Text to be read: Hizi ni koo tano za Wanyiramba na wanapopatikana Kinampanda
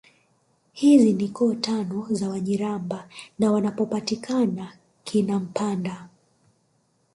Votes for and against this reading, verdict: 4, 0, accepted